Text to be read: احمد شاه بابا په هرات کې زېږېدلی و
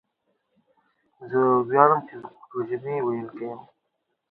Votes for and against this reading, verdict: 1, 2, rejected